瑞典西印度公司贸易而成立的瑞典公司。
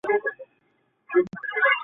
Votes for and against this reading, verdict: 0, 2, rejected